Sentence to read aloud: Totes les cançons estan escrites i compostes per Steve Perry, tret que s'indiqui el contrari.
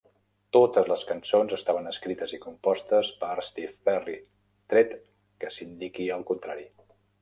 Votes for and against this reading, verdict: 1, 2, rejected